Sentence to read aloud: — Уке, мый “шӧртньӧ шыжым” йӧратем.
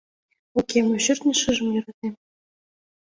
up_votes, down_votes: 1, 2